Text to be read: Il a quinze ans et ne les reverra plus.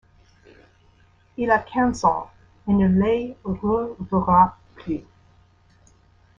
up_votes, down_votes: 0, 2